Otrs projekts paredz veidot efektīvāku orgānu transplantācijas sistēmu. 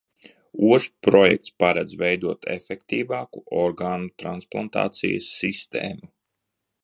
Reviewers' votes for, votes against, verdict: 1, 2, rejected